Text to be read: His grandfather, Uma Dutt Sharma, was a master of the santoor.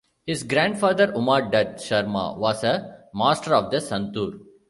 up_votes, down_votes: 2, 0